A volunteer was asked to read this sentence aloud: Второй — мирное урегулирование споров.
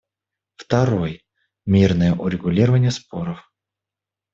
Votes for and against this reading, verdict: 2, 0, accepted